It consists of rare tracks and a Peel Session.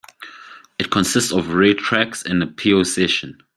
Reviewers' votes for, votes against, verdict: 1, 2, rejected